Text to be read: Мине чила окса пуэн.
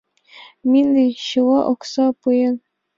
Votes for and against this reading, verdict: 2, 0, accepted